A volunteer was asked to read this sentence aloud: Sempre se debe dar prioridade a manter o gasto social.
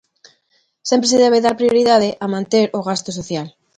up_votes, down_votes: 2, 0